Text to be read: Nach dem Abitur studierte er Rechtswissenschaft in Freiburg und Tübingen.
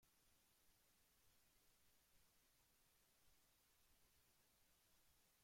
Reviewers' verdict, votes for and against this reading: rejected, 0, 2